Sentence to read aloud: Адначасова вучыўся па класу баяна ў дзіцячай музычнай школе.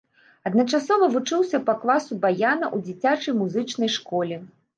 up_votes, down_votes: 2, 0